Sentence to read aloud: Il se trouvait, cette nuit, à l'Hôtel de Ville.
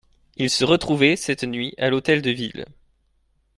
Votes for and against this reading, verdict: 1, 2, rejected